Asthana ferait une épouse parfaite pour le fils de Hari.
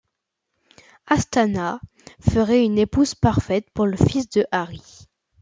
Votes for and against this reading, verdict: 2, 0, accepted